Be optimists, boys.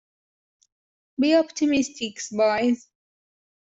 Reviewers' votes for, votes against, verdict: 0, 2, rejected